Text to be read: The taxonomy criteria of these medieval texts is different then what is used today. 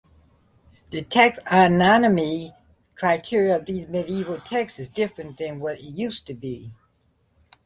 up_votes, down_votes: 0, 2